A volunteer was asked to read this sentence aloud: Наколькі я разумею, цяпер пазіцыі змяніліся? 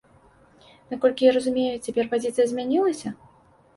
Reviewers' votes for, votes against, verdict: 1, 2, rejected